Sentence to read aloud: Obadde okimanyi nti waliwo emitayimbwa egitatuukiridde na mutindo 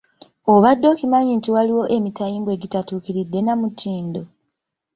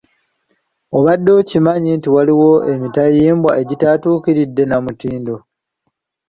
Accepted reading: first